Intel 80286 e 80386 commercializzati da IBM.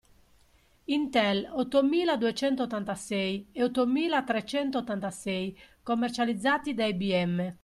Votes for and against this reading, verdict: 0, 2, rejected